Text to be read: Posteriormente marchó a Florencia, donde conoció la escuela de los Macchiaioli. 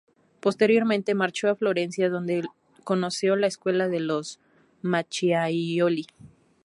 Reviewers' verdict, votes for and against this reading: rejected, 0, 2